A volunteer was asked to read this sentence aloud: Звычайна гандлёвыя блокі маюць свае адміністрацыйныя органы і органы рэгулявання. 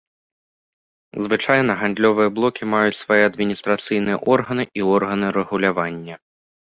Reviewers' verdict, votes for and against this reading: accepted, 2, 0